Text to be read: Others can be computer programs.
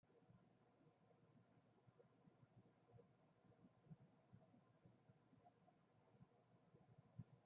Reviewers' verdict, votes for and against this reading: rejected, 0, 2